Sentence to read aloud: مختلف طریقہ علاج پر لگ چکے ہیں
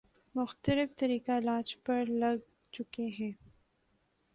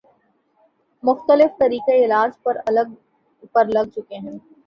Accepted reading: first